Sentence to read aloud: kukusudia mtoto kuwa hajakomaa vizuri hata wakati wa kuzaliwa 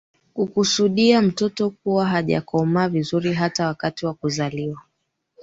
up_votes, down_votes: 2, 0